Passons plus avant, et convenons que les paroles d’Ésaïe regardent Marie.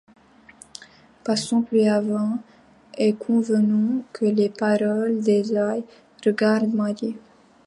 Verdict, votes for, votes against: rejected, 0, 2